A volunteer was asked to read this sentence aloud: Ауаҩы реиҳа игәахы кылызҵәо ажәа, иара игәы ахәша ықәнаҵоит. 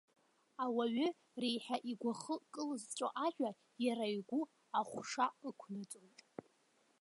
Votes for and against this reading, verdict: 0, 2, rejected